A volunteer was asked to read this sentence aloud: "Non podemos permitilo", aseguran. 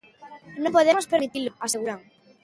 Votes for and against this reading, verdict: 0, 2, rejected